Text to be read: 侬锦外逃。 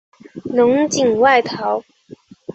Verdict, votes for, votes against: accepted, 2, 0